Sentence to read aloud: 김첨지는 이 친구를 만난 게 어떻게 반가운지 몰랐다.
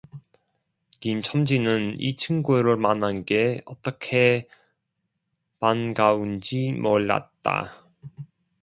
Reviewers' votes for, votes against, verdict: 2, 0, accepted